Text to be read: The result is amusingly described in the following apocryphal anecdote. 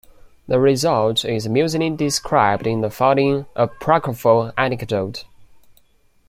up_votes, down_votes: 1, 2